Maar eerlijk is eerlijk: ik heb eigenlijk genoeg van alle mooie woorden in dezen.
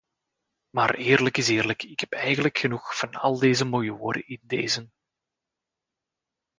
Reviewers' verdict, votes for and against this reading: rejected, 1, 2